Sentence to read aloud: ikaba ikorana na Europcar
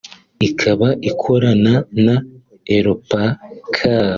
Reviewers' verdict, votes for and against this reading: rejected, 1, 2